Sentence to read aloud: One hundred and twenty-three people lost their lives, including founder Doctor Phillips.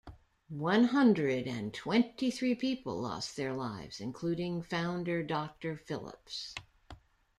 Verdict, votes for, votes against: accepted, 2, 0